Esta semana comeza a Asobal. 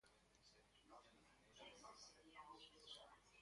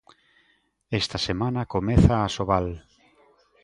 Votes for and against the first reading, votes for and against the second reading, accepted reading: 0, 2, 2, 0, second